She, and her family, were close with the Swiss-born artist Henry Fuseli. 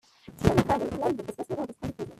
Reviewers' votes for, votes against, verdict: 0, 2, rejected